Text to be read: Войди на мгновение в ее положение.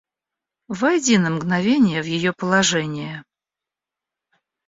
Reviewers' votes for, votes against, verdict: 2, 0, accepted